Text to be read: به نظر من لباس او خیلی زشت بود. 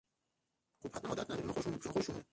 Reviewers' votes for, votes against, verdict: 0, 2, rejected